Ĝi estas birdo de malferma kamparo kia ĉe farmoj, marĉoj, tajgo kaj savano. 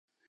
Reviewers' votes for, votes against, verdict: 1, 2, rejected